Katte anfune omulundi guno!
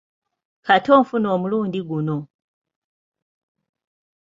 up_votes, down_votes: 4, 3